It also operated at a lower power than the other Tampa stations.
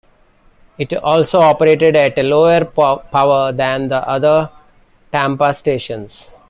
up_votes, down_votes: 2, 1